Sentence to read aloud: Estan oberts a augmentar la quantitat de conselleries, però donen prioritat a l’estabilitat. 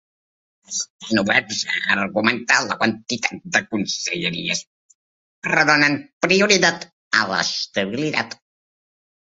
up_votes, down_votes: 1, 2